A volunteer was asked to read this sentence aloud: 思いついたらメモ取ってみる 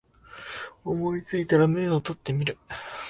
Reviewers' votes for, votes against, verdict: 1, 2, rejected